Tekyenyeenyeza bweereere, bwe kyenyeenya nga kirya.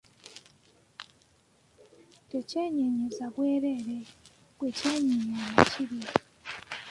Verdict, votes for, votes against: rejected, 0, 2